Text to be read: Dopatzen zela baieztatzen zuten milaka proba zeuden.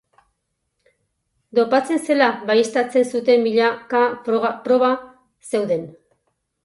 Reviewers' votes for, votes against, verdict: 2, 4, rejected